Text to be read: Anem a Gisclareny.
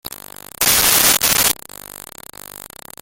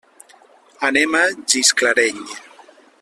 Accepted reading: second